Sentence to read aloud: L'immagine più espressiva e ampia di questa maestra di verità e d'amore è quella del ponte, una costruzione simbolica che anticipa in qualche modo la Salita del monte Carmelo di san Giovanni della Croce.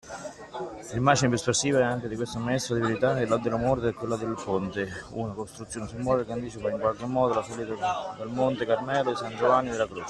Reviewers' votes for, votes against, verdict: 0, 2, rejected